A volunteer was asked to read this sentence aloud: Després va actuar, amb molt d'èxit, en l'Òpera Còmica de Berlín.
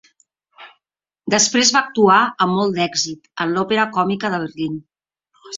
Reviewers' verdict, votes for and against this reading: accepted, 3, 0